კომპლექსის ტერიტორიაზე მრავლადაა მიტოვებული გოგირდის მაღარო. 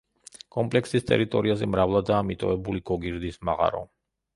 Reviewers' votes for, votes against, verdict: 2, 0, accepted